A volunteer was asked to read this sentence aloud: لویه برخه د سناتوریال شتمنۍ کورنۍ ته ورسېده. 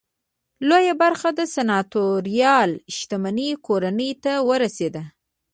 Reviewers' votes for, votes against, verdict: 1, 2, rejected